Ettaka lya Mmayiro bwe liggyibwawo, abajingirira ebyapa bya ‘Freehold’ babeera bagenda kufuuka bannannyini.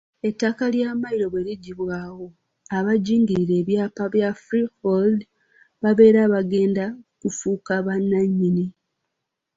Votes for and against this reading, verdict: 2, 0, accepted